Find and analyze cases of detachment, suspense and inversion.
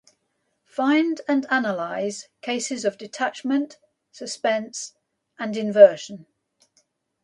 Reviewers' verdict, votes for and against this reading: accepted, 2, 0